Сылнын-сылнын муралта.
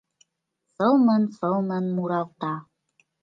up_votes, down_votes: 2, 0